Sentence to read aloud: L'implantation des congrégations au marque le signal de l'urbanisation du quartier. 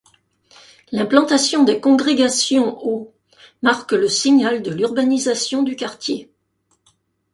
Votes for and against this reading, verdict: 2, 0, accepted